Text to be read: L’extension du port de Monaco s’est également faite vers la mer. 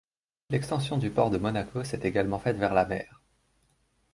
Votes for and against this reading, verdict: 2, 0, accepted